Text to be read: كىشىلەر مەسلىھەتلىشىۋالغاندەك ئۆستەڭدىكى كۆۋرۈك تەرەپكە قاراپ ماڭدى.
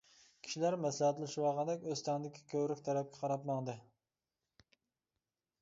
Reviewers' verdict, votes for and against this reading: accepted, 2, 0